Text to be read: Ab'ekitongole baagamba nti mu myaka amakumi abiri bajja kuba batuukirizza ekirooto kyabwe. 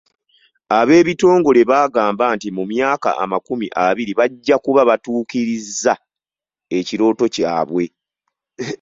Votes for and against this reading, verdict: 2, 0, accepted